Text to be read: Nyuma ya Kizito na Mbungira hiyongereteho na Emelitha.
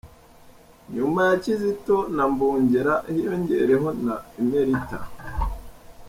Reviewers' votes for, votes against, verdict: 1, 2, rejected